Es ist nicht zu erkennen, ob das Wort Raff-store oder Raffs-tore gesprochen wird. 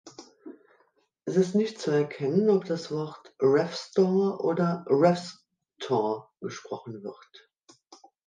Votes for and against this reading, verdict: 2, 0, accepted